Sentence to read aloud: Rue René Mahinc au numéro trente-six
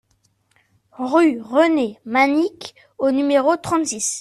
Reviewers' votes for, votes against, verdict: 0, 2, rejected